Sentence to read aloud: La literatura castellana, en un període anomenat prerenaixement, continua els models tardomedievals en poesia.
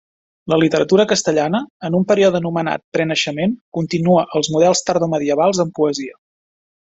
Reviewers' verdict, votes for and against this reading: accepted, 2, 1